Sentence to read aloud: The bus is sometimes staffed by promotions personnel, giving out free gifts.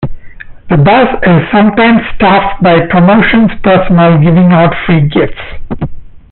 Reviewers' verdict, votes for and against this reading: accepted, 2, 1